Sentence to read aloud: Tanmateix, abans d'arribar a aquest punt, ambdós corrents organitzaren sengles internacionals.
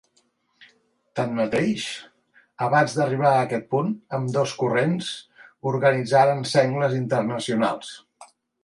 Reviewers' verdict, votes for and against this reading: accepted, 3, 0